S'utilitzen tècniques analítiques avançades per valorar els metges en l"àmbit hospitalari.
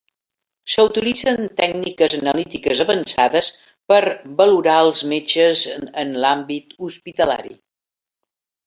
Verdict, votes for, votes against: rejected, 2, 3